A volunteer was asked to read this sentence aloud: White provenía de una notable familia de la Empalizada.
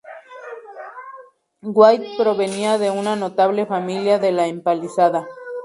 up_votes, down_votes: 2, 0